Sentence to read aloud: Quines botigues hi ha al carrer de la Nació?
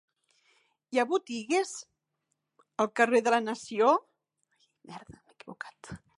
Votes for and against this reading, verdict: 0, 4, rejected